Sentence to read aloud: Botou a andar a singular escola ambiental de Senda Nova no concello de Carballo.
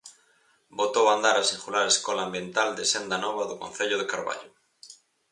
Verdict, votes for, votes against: rejected, 2, 2